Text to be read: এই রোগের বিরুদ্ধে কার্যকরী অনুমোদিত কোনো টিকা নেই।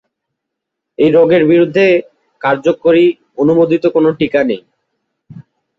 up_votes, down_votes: 12, 1